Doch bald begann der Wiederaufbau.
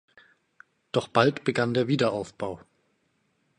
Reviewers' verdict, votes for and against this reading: accepted, 2, 0